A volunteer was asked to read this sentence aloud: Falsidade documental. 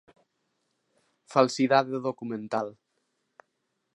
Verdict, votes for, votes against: accepted, 2, 0